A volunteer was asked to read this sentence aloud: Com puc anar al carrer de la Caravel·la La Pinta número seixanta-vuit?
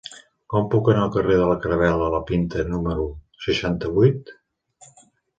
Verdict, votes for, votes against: accepted, 2, 0